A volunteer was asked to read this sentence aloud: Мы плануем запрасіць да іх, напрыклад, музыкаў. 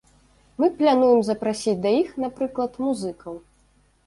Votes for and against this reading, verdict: 1, 2, rejected